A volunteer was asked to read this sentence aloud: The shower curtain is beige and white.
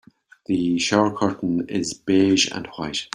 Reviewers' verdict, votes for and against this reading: rejected, 1, 2